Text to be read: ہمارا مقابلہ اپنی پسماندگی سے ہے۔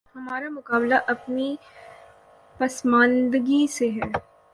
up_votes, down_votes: 9, 0